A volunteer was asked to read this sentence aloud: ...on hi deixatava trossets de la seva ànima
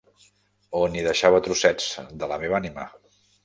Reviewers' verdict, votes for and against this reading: rejected, 0, 2